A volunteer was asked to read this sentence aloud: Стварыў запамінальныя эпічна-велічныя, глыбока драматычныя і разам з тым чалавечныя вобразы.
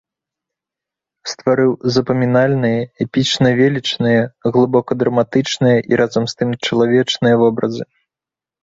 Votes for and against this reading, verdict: 2, 0, accepted